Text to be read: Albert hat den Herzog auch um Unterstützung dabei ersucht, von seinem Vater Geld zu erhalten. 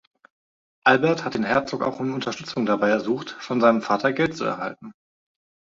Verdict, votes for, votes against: accepted, 2, 0